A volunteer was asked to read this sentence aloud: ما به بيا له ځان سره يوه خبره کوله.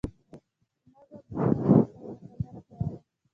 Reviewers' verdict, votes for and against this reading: rejected, 0, 2